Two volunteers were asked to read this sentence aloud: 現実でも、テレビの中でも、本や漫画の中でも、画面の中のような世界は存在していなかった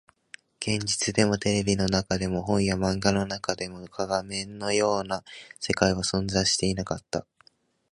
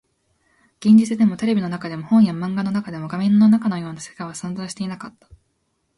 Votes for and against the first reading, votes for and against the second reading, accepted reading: 2, 0, 0, 2, first